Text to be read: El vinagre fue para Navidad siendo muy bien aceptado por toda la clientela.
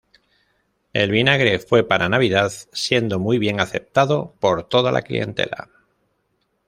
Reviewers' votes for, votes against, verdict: 2, 0, accepted